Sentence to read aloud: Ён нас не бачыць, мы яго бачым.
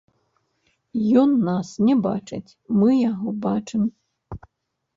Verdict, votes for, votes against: rejected, 0, 2